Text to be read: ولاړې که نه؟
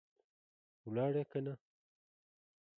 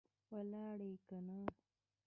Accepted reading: first